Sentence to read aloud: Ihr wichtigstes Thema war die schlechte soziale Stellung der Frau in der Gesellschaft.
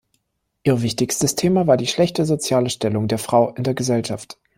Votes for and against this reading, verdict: 1, 2, rejected